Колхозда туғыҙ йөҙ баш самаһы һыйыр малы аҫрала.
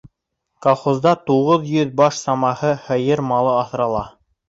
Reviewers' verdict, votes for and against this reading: accepted, 3, 0